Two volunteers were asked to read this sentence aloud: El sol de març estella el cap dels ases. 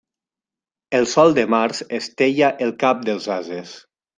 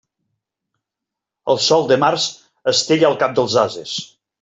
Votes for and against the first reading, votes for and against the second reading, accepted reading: 1, 2, 2, 0, second